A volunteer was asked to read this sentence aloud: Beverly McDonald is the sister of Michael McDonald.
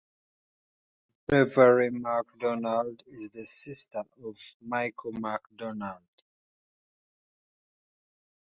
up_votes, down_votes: 2, 1